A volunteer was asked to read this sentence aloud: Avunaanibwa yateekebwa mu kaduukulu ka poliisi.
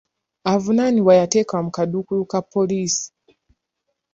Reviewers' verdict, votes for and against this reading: rejected, 1, 2